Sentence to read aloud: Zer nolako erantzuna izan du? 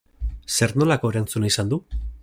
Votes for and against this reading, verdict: 2, 0, accepted